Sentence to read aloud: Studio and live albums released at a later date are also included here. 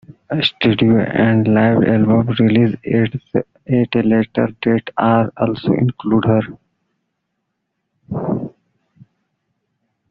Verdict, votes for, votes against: rejected, 0, 2